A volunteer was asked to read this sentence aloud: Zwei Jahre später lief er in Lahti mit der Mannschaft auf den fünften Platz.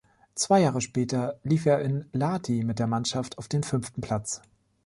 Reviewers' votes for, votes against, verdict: 3, 0, accepted